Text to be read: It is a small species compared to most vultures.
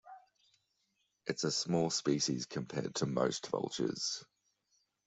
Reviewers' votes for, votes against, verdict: 1, 2, rejected